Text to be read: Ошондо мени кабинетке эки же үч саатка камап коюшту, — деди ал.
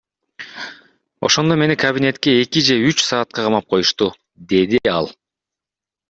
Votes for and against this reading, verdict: 2, 0, accepted